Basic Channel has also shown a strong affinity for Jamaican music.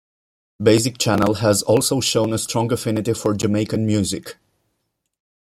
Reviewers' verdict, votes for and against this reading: accepted, 2, 0